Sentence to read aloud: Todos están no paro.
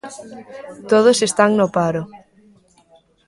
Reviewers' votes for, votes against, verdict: 2, 0, accepted